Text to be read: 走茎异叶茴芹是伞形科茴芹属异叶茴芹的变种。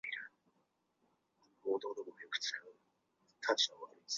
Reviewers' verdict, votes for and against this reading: rejected, 0, 2